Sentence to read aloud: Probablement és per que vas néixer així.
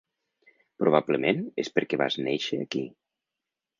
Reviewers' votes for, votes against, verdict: 0, 3, rejected